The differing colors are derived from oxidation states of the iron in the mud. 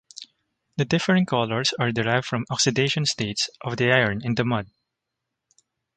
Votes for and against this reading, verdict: 2, 0, accepted